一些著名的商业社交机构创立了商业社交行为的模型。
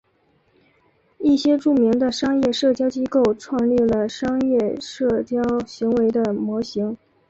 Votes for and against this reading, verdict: 1, 2, rejected